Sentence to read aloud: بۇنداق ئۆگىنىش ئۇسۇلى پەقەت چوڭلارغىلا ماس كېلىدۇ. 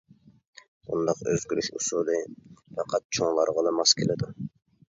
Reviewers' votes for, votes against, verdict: 0, 2, rejected